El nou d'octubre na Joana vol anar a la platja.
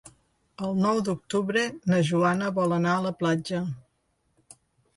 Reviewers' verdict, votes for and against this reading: accepted, 3, 0